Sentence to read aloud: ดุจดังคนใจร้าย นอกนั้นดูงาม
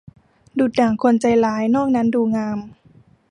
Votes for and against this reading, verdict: 1, 2, rejected